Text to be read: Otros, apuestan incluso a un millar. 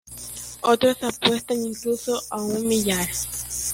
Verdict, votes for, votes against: rejected, 1, 2